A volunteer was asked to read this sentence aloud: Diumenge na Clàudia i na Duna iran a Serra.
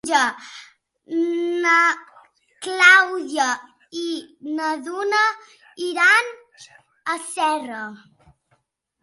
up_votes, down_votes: 0, 2